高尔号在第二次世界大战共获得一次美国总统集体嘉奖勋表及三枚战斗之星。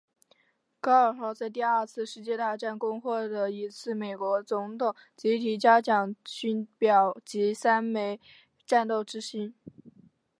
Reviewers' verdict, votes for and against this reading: accepted, 2, 0